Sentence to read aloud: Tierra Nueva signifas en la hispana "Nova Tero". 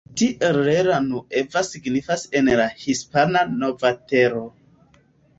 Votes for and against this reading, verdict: 0, 2, rejected